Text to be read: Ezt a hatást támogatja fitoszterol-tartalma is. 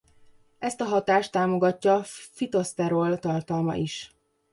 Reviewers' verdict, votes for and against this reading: rejected, 0, 2